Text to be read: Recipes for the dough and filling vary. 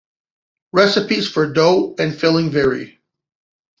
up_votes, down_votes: 1, 2